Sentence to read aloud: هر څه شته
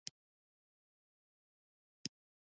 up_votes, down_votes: 0, 2